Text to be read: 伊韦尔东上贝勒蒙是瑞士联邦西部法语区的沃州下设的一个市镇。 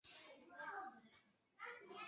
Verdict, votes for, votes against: rejected, 0, 2